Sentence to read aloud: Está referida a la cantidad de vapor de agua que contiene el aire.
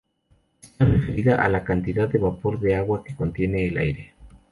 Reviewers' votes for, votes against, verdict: 2, 0, accepted